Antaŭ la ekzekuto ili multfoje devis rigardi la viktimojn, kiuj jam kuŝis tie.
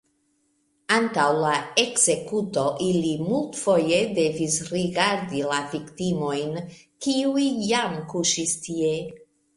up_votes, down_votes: 2, 0